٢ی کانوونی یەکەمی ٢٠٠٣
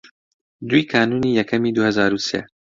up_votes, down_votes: 0, 2